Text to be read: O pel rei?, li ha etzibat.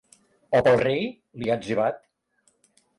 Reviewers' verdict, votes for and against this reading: accepted, 2, 1